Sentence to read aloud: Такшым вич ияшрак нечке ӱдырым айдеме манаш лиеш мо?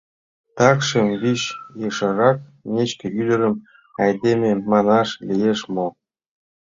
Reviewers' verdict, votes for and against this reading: rejected, 1, 2